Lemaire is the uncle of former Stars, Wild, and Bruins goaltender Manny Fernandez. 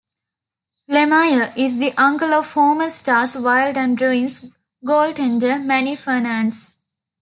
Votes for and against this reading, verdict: 1, 2, rejected